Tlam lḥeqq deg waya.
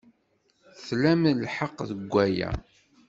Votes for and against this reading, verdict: 2, 0, accepted